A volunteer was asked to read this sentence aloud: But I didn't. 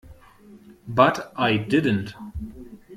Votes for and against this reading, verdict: 2, 0, accepted